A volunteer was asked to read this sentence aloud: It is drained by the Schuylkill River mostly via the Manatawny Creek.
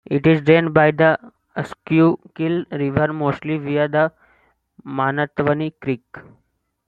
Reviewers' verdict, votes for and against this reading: rejected, 0, 2